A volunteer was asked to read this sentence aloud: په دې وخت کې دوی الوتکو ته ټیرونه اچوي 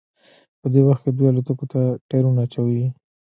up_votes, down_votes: 1, 2